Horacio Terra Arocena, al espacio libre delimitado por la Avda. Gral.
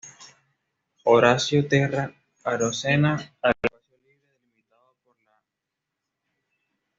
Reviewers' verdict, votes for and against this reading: rejected, 1, 2